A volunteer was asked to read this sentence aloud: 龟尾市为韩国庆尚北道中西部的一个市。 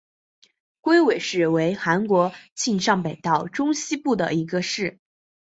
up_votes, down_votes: 3, 0